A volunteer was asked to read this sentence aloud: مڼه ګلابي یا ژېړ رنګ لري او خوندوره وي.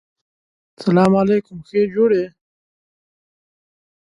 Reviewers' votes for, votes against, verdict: 1, 3, rejected